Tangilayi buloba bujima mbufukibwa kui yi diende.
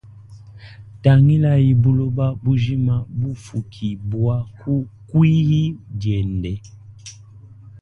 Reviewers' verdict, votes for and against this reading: accepted, 2, 0